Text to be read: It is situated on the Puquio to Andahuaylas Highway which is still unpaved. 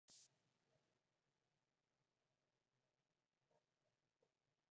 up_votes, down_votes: 0, 2